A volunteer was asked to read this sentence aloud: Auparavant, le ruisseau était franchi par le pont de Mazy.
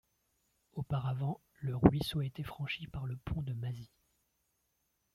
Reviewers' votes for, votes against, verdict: 1, 2, rejected